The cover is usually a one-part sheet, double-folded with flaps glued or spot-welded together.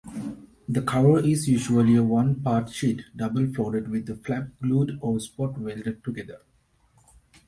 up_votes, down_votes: 2, 1